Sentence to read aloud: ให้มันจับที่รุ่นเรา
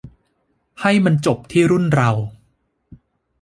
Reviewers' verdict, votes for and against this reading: rejected, 0, 2